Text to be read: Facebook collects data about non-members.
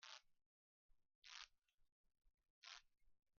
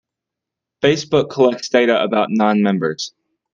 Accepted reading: second